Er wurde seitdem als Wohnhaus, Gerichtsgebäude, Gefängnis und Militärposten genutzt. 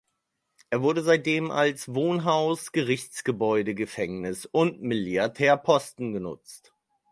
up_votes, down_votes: 0, 4